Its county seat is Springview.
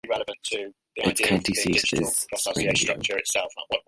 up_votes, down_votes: 0, 2